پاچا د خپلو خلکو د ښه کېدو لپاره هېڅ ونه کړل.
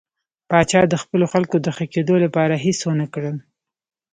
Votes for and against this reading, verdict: 0, 2, rejected